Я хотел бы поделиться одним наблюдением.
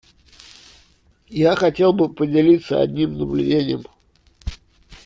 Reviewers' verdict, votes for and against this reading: accepted, 2, 0